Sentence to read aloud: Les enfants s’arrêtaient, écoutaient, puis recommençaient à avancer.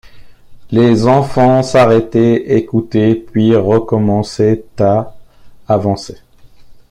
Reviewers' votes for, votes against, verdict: 2, 0, accepted